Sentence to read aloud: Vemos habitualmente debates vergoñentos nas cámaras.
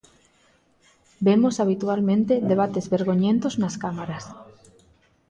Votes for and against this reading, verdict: 2, 0, accepted